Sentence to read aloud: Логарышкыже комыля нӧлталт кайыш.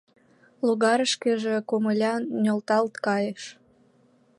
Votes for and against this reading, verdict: 3, 0, accepted